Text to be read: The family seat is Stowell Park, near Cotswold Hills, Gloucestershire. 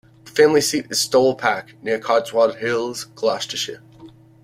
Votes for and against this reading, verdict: 0, 2, rejected